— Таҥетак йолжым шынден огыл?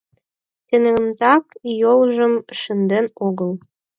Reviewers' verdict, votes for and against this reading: rejected, 2, 4